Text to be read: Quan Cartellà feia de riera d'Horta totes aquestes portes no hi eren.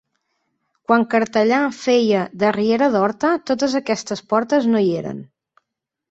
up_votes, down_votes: 6, 0